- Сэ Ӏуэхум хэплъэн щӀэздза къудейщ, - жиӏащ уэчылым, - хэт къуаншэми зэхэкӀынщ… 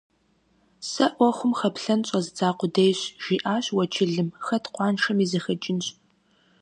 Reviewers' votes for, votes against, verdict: 2, 0, accepted